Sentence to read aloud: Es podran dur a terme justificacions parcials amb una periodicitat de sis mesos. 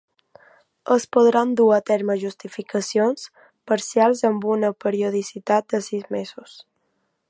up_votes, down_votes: 2, 0